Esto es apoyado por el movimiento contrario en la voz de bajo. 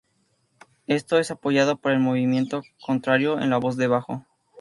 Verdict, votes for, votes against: accepted, 2, 0